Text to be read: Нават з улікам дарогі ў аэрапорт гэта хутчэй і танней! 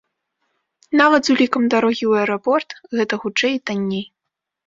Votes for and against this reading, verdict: 2, 0, accepted